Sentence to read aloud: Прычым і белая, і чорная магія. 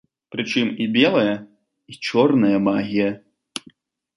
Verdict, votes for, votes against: accepted, 2, 0